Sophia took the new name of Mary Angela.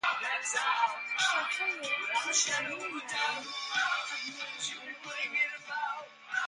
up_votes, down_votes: 0, 2